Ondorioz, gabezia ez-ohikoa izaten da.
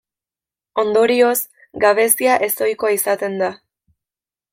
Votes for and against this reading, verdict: 2, 0, accepted